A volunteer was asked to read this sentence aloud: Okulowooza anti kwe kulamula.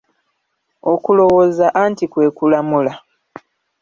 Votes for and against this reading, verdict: 1, 2, rejected